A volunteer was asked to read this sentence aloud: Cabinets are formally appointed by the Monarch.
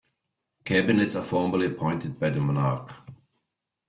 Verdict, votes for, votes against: accepted, 2, 1